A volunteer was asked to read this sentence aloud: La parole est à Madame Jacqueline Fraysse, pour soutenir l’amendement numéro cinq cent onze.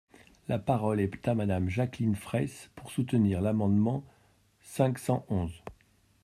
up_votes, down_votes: 0, 2